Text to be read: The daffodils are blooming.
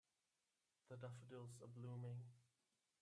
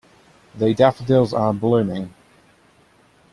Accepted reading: second